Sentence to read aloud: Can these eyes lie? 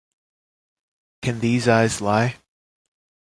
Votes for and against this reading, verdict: 1, 2, rejected